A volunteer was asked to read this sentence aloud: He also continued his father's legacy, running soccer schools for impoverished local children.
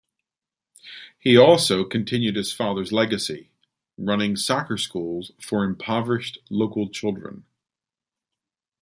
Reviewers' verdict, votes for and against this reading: rejected, 1, 2